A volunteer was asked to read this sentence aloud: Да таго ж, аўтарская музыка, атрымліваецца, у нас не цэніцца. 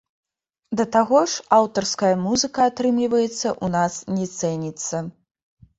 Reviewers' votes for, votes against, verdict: 0, 2, rejected